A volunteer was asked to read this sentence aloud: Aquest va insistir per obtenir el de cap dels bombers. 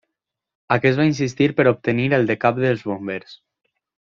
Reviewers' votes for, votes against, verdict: 2, 0, accepted